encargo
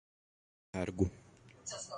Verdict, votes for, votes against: rejected, 0, 4